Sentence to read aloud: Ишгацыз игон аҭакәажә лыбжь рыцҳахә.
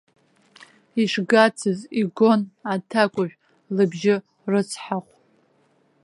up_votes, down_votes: 2, 1